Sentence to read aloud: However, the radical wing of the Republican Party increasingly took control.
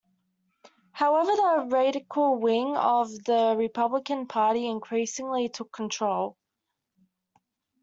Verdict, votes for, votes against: accepted, 2, 1